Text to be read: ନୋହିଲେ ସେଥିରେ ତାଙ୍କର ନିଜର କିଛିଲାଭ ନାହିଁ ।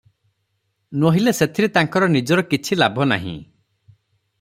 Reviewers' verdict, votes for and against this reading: accepted, 3, 0